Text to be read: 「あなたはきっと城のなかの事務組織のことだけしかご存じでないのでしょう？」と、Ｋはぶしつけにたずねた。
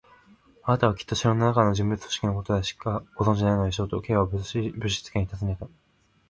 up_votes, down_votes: 0, 2